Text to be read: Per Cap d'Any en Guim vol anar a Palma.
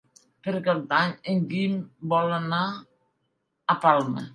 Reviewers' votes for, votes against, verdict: 3, 0, accepted